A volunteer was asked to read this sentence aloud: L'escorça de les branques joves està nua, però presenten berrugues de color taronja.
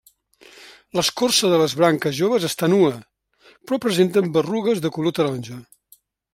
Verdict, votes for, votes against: accepted, 2, 0